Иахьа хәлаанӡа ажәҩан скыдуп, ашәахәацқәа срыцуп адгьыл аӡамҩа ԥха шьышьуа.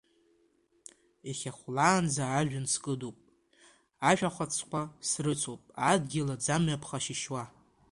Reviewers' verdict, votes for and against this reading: accepted, 2, 1